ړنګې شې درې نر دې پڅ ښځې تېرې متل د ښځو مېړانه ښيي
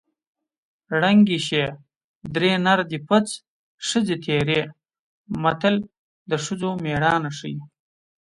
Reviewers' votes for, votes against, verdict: 2, 0, accepted